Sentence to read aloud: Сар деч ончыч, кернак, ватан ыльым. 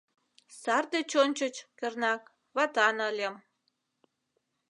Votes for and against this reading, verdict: 2, 0, accepted